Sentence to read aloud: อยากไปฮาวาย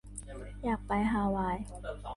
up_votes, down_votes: 2, 1